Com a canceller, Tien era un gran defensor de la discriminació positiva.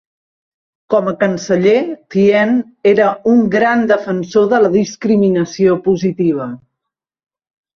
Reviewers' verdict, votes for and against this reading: accepted, 2, 0